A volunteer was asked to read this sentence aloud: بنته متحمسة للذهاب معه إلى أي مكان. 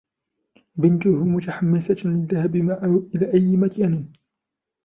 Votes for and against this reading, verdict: 2, 0, accepted